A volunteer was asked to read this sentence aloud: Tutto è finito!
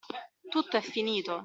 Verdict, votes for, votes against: accepted, 2, 0